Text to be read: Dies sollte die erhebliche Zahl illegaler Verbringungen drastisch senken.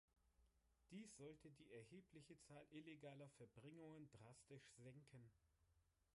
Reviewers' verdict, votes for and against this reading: rejected, 1, 3